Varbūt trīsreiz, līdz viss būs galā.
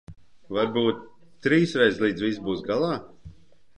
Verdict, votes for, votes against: rejected, 0, 2